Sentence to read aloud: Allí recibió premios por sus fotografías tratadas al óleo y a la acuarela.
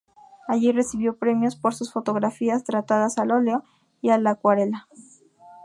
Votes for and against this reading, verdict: 2, 2, rejected